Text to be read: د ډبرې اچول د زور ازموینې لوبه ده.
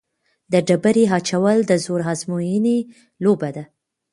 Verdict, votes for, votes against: accepted, 2, 0